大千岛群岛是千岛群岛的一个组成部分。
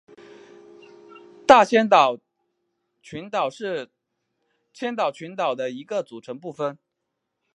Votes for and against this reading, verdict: 1, 2, rejected